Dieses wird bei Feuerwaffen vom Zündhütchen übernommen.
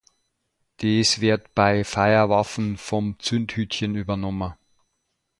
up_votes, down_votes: 0, 2